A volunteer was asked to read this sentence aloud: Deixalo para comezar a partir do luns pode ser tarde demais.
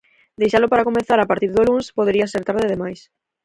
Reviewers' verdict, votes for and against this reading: rejected, 2, 4